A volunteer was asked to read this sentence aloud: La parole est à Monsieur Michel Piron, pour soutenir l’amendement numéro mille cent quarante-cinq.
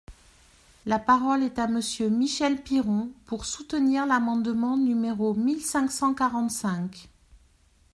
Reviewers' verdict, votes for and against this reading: rejected, 1, 2